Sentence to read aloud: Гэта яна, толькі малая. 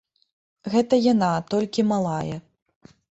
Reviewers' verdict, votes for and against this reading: accepted, 2, 0